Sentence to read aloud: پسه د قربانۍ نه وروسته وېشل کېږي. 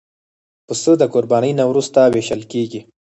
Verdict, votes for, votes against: rejected, 2, 4